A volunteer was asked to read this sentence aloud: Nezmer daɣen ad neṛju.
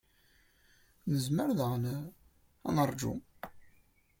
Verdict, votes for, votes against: accepted, 2, 0